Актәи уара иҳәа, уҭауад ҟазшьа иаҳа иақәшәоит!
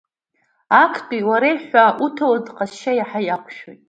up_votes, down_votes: 2, 0